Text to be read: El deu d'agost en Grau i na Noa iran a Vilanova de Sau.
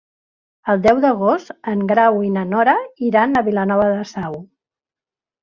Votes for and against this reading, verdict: 1, 2, rejected